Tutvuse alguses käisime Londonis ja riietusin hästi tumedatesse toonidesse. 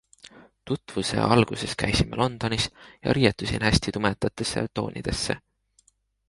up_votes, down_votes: 2, 0